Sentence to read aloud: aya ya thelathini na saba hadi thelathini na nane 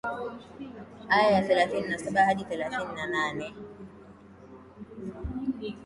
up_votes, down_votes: 2, 0